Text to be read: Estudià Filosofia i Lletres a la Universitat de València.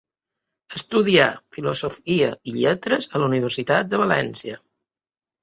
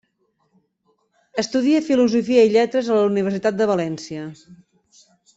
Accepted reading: first